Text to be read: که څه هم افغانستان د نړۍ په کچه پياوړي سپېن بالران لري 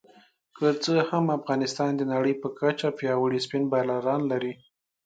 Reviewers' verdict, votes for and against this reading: accepted, 2, 0